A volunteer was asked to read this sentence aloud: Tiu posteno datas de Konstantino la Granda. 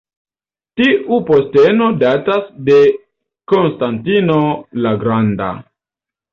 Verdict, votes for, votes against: accepted, 2, 0